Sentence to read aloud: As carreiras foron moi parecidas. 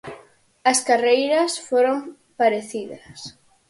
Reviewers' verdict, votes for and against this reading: rejected, 0, 4